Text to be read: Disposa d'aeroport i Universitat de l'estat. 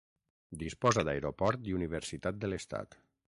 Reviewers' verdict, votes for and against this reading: accepted, 6, 0